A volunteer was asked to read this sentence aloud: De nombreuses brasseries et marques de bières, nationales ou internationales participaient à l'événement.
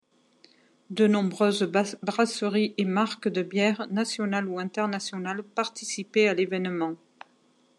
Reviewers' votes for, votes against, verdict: 2, 1, accepted